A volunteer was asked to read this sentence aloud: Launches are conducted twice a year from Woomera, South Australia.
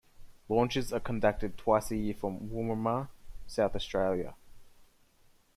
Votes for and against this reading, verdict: 2, 1, accepted